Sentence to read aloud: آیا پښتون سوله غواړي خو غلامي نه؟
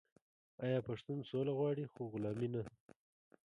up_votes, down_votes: 0, 2